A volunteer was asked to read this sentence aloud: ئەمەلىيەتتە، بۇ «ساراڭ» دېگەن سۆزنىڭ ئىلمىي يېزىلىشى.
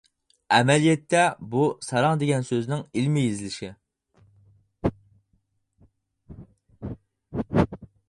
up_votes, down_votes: 4, 0